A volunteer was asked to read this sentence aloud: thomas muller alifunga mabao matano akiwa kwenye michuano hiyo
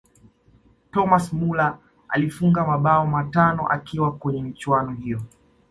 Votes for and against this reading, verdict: 2, 0, accepted